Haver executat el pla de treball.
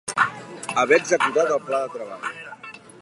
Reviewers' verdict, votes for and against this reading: rejected, 0, 2